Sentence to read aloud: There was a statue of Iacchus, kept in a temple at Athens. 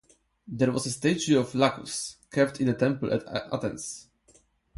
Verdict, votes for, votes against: rejected, 2, 4